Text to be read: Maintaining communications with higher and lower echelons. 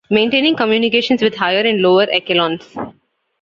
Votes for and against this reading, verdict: 0, 2, rejected